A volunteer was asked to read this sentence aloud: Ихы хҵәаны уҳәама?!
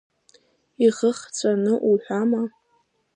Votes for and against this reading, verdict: 2, 0, accepted